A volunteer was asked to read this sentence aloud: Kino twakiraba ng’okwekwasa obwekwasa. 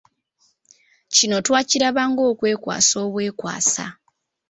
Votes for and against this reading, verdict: 2, 0, accepted